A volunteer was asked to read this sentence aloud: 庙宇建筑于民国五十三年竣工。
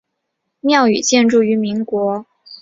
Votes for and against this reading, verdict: 0, 2, rejected